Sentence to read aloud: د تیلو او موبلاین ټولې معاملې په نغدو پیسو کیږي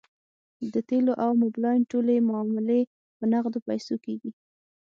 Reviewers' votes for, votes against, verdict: 6, 0, accepted